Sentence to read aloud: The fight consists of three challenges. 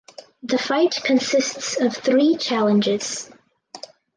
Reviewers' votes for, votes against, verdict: 4, 0, accepted